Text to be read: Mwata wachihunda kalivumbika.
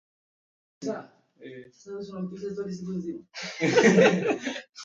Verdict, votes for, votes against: rejected, 0, 2